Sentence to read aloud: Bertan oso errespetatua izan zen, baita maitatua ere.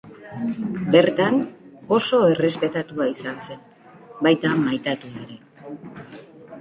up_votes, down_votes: 1, 2